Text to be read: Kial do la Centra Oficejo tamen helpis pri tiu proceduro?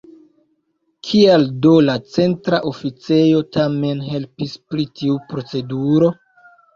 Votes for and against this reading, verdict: 2, 0, accepted